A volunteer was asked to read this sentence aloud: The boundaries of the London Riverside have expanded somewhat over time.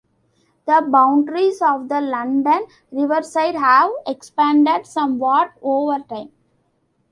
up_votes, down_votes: 1, 2